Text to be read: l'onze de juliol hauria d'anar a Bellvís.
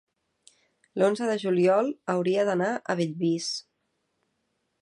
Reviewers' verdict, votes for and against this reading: accepted, 4, 0